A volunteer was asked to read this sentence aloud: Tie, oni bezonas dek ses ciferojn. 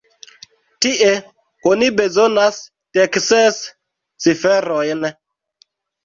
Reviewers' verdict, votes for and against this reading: rejected, 1, 2